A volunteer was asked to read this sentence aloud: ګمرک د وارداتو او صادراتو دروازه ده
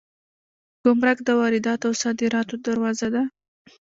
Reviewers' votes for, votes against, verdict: 2, 0, accepted